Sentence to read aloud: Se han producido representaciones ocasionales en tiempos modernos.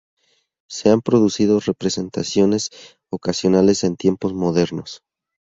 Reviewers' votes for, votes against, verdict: 2, 0, accepted